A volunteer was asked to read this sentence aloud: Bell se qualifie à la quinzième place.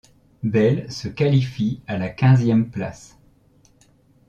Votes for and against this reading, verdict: 2, 0, accepted